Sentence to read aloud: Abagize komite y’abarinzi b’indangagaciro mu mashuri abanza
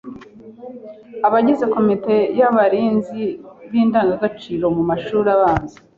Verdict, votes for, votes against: accepted, 2, 0